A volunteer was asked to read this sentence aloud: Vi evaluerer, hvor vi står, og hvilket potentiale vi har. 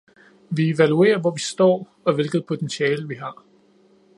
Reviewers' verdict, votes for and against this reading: accepted, 2, 0